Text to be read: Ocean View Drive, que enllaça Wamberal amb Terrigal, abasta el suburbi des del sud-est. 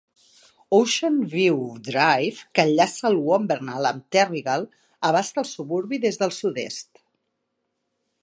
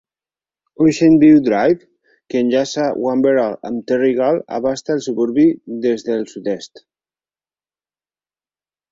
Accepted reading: second